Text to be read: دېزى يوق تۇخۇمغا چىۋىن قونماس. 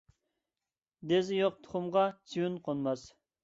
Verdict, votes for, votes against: accepted, 2, 0